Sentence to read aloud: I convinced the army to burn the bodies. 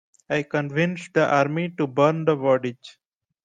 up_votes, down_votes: 2, 0